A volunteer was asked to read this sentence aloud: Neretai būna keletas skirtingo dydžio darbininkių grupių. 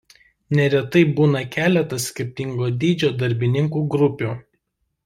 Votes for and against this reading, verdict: 1, 2, rejected